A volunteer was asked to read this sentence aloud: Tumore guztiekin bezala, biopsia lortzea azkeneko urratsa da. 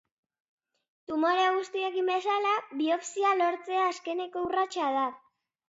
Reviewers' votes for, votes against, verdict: 2, 0, accepted